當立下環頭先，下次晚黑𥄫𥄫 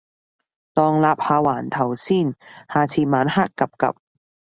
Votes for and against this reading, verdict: 2, 0, accepted